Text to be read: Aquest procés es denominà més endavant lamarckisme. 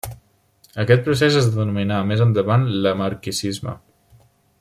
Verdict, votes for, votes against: rejected, 0, 2